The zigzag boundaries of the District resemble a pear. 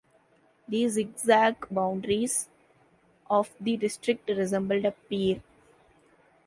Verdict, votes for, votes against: accepted, 2, 0